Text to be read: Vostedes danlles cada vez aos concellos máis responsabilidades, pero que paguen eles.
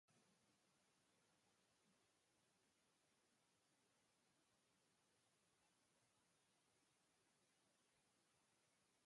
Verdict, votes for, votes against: rejected, 0, 2